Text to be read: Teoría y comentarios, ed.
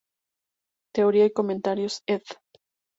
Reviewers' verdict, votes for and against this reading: accepted, 2, 0